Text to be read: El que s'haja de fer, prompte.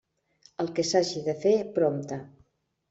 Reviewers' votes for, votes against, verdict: 1, 2, rejected